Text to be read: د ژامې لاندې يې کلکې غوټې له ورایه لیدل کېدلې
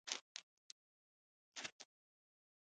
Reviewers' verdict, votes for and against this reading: rejected, 1, 2